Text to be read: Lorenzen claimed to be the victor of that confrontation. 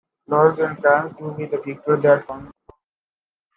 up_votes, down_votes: 0, 2